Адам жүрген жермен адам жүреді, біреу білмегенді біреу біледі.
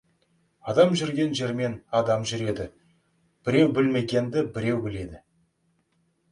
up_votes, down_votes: 2, 0